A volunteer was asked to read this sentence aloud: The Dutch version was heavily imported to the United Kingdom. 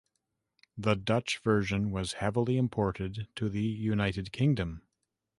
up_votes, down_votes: 2, 0